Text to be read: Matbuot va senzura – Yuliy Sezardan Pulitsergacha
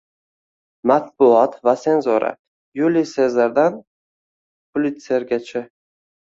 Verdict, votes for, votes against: rejected, 1, 2